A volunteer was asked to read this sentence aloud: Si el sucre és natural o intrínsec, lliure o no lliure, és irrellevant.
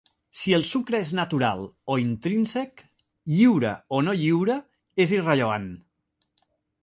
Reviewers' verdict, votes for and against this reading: accepted, 2, 0